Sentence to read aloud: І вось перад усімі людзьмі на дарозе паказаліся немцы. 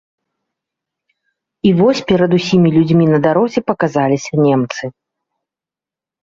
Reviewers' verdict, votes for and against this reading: accepted, 2, 0